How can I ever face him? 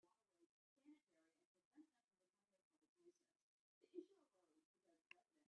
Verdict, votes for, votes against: rejected, 0, 3